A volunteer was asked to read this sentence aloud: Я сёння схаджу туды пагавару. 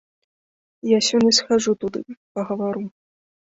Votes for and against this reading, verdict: 2, 0, accepted